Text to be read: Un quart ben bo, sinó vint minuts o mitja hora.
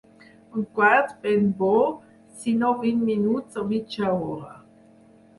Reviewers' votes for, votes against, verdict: 4, 0, accepted